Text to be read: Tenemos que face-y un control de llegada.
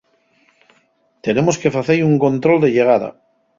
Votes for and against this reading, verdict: 4, 0, accepted